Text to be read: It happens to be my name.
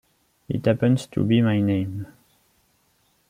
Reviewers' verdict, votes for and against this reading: accepted, 2, 1